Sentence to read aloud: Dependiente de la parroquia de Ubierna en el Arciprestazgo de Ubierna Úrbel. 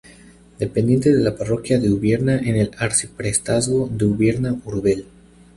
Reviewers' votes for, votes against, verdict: 0, 2, rejected